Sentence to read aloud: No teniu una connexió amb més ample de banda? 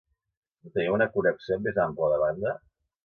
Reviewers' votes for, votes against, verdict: 0, 2, rejected